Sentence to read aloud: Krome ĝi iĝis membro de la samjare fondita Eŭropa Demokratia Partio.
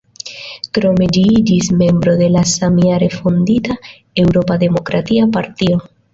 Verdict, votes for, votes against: accepted, 2, 0